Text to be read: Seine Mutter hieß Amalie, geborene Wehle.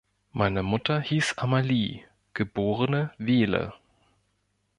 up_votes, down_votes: 0, 2